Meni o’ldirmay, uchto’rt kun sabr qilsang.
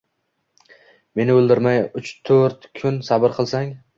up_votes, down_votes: 2, 0